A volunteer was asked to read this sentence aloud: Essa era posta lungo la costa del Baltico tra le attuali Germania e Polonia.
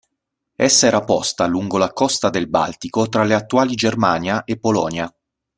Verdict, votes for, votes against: accepted, 3, 0